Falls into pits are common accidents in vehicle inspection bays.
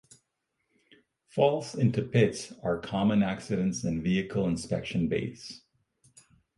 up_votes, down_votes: 4, 0